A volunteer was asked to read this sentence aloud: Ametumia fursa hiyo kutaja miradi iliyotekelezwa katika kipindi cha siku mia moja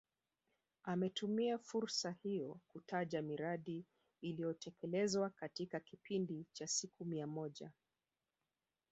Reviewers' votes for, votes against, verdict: 1, 2, rejected